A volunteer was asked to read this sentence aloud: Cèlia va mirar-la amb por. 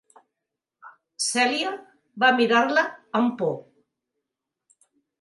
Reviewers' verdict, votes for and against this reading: accepted, 4, 0